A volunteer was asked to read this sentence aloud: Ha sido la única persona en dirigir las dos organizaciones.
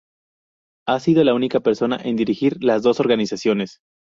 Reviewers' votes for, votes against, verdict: 4, 0, accepted